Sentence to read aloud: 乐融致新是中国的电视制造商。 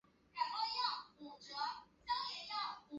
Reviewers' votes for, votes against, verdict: 0, 2, rejected